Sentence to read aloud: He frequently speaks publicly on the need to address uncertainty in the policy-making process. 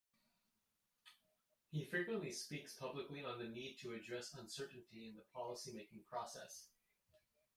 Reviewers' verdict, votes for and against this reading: accepted, 2, 0